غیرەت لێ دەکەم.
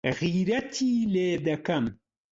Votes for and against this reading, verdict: 0, 2, rejected